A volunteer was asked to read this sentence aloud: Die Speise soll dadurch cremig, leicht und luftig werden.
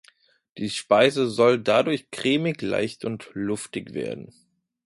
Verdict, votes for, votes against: accepted, 2, 1